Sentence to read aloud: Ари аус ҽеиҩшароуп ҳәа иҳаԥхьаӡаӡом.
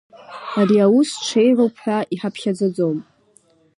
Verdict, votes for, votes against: rejected, 0, 2